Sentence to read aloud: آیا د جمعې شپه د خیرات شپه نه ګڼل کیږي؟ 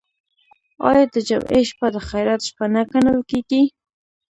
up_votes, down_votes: 2, 0